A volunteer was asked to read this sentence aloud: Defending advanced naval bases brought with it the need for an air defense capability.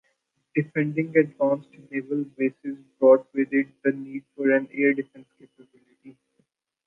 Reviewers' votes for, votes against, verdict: 0, 2, rejected